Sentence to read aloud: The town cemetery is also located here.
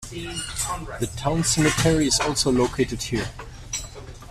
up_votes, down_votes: 0, 2